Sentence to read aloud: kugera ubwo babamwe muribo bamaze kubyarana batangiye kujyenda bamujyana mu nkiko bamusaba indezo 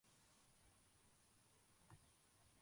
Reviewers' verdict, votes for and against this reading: rejected, 0, 2